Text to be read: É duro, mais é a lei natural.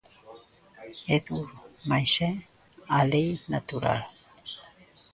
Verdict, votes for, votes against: accepted, 2, 0